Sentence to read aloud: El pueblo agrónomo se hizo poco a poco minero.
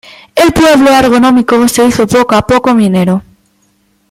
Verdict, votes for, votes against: rejected, 1, 2